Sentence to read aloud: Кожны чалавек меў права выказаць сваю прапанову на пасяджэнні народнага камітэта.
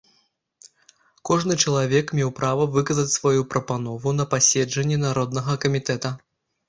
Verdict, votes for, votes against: rejected, 0, 2